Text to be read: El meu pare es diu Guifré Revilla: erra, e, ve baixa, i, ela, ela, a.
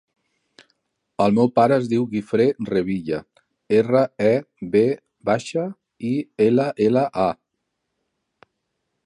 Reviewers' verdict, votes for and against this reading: rejected, 1, 2